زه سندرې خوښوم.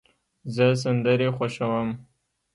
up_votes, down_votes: 0, 2